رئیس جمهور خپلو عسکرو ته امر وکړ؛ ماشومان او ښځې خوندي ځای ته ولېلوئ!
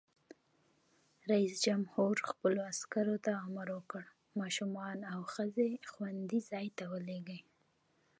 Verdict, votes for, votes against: accepted, 2, 0